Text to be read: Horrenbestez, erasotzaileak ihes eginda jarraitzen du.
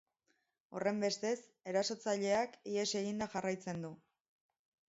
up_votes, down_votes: 4, 0